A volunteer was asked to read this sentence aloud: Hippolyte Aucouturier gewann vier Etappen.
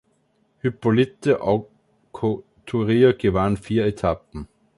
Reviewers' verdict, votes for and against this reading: rejected, 0, 2